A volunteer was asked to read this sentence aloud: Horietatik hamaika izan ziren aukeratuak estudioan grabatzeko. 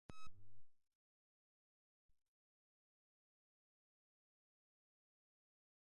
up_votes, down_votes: 0, 2